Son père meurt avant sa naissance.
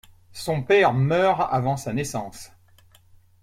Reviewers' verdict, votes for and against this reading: accepted, 2, 0